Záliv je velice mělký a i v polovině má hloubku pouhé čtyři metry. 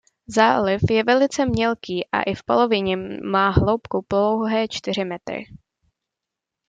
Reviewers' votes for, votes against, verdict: 2, 0, accepted